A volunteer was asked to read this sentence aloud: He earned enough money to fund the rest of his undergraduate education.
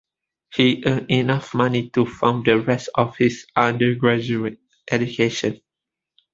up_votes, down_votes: 2, 1